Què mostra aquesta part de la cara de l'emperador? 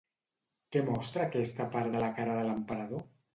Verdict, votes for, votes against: accepted, 2, 0